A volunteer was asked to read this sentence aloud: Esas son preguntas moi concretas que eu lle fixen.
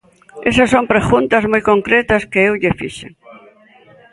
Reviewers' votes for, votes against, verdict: 2, 1, accepted